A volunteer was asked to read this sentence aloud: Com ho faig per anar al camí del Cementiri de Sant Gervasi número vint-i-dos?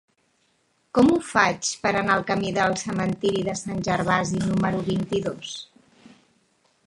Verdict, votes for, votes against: rejected, 1, 2